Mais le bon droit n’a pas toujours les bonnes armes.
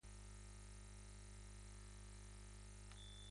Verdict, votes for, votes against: rejected, 1, 2